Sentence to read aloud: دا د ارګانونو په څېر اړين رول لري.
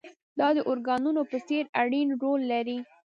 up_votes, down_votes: 1, 2